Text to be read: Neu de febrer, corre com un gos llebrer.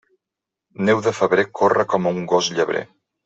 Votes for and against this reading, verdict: 2, 0, accepted